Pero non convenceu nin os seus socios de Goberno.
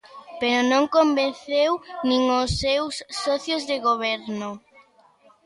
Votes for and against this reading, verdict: 2, 0, accepted